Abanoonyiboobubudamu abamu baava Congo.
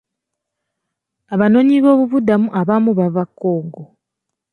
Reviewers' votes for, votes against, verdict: 1, 2, rejected